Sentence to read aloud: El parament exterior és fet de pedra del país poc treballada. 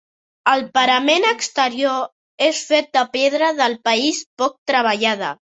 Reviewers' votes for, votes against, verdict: 3, 0, accepted